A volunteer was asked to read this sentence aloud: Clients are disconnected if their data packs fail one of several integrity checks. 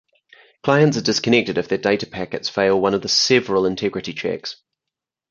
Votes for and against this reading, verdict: 2, 4, rejected